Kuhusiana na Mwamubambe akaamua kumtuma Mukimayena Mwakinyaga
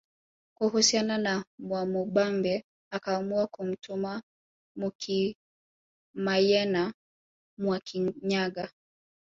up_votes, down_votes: 1, 2